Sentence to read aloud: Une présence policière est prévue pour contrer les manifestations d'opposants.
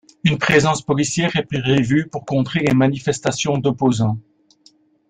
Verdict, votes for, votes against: accepted, 2, 0